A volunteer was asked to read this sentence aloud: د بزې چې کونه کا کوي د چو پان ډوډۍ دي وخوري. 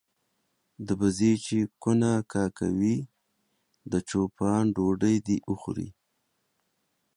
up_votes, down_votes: 2, 0